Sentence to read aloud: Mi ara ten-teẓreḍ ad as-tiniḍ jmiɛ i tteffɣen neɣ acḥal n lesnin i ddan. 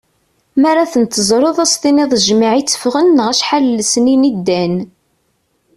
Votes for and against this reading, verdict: 2, 0, accepted